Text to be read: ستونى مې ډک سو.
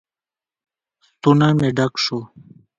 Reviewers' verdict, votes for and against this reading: accepted, 2, 0